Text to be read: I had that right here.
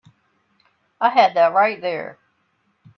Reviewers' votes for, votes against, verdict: 0, 4, rejected